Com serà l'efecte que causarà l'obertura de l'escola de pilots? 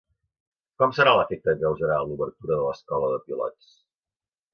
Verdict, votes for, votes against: accepted, 2, 1